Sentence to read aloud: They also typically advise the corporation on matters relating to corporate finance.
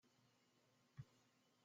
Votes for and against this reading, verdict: 0, 2, rejected